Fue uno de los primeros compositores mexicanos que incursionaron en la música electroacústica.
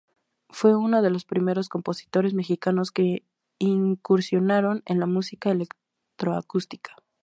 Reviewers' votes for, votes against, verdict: 2, 0, accepted